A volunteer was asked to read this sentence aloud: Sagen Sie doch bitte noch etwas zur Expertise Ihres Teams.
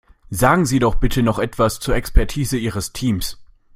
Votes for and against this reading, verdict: 3, 0, accepted